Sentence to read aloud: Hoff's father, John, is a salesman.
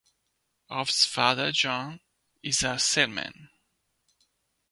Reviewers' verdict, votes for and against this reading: rejected, 0, 2